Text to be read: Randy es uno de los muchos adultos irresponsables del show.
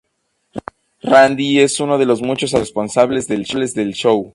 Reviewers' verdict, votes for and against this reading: rejected, 0, 2